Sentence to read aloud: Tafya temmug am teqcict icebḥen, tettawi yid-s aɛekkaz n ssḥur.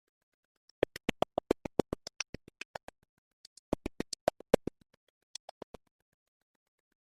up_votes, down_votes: 0, 2